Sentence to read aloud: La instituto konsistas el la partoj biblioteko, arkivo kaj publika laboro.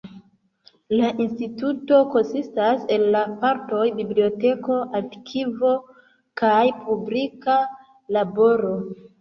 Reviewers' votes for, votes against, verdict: 2, 1, accepted